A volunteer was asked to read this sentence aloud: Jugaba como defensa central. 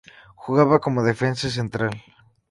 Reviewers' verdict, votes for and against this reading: accepted, 2, 0